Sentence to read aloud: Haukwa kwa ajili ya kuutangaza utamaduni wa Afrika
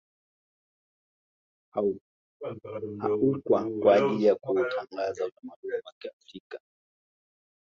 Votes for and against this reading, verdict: 1, 2, rejected